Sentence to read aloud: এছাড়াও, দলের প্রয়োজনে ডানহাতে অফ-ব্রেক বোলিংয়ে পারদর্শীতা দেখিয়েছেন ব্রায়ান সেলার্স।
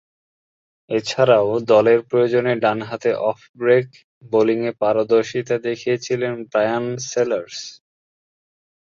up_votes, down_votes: 4, 0